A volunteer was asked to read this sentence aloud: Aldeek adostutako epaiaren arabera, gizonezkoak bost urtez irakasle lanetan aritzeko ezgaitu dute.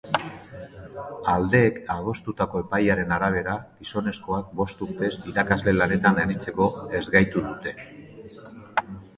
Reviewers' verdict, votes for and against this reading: accepted, 2, 0